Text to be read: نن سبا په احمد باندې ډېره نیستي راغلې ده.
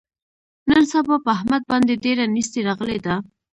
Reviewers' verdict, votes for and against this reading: accepted, 2, 0